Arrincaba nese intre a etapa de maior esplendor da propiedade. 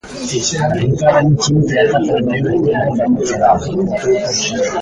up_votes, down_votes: 0, 2